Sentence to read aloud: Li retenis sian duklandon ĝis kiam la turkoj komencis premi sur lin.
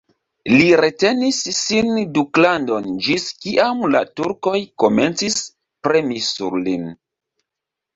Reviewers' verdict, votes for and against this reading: rejected, 1, 2